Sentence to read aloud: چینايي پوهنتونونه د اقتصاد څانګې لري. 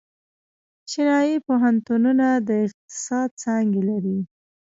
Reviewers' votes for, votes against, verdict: 0, 2, rejected